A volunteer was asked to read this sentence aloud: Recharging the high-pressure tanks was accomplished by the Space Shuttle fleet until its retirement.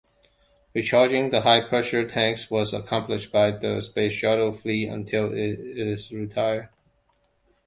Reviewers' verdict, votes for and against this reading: rejected, 0, 2